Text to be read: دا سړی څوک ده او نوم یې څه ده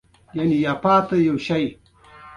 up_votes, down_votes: 2, 0